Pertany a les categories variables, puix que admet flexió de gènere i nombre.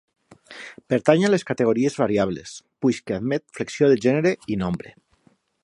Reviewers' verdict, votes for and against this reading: accepted, 3, 0